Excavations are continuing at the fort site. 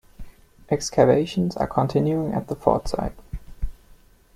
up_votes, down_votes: 2, 1